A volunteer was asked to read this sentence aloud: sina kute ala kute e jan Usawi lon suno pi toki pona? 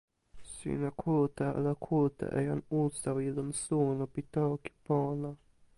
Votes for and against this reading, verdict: 2, 0, accepted